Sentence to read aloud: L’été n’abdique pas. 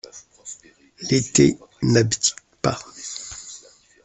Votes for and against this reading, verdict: 2, 0, accepted